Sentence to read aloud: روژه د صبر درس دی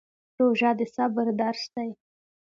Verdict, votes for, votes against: accepted, 2, 0